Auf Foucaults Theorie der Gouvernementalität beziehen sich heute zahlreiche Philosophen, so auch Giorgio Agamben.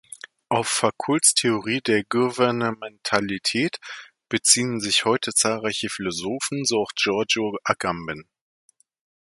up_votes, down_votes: 1, 2